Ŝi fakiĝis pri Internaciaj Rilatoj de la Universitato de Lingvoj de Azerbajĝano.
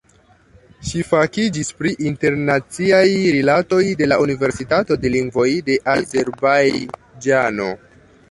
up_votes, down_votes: 2, 1